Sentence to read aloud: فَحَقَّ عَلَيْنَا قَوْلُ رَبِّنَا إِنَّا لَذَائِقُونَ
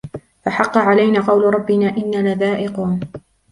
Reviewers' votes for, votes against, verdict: 1, 2, rejected